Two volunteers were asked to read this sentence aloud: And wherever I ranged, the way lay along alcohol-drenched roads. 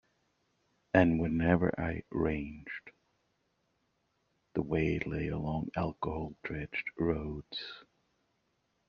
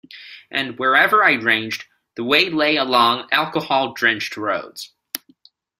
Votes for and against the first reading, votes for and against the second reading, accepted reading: 1, 2, 2, 0, second